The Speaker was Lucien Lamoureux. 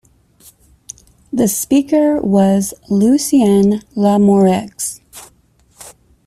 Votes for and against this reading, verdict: 1, 2, rejected